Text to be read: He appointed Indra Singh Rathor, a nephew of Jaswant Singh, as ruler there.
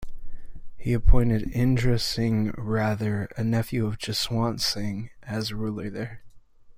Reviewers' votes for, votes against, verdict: 0, 2, rejected